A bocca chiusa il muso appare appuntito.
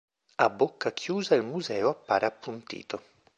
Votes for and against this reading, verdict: 0, 2, rejected